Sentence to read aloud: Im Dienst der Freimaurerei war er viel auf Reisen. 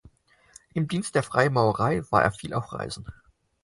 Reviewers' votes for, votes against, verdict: 0, 4, rejected